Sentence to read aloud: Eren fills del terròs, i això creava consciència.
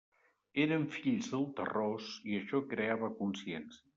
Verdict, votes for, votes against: accepted, 3, 0